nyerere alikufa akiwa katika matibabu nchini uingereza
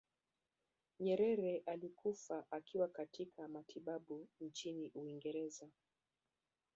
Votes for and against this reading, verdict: 0, 2, rejected